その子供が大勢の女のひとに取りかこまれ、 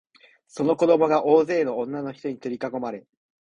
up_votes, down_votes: 2, 0